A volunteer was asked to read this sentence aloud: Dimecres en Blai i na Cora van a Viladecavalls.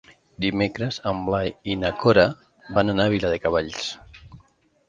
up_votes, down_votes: 0, 2